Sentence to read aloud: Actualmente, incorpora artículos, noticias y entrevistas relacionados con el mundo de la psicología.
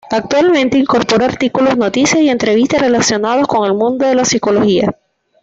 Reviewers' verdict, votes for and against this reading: accepted, 2, 0